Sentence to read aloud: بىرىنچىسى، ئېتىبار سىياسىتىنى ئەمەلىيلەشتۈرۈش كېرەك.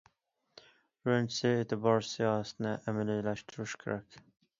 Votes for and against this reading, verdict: 2, 0, accepted